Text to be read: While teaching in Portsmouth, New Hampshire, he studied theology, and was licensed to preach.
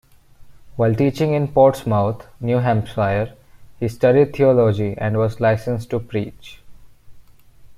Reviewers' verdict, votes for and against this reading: rejected, 1, 2